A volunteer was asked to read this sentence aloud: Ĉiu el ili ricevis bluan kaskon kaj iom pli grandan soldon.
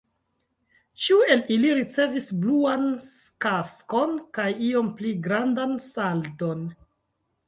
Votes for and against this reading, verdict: 1, 3, rejected